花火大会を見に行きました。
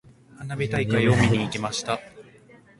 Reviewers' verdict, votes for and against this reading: accepted, 3, 0